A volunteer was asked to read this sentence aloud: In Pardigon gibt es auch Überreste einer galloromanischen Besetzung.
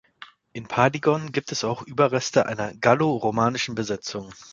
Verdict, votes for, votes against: accepted, 2, 0